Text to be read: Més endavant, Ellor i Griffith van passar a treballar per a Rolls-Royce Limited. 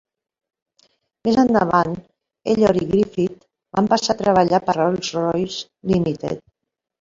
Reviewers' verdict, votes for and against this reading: rejected, 0, 2